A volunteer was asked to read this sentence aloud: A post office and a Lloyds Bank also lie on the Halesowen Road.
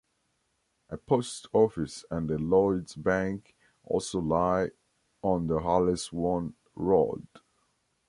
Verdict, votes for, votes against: accepted, 2, 0